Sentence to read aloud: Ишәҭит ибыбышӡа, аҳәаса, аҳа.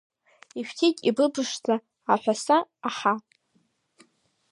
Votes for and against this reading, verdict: 0, 2, rejected